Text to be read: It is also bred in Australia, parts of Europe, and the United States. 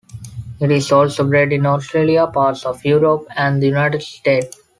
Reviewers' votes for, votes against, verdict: 2, 1, accepted